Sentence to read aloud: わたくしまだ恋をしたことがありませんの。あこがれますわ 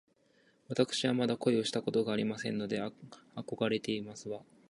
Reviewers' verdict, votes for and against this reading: rejected, 1, 2